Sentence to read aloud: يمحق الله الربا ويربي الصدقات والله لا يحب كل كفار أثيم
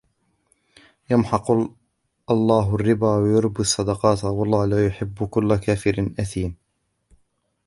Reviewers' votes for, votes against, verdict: 1, 3, rejected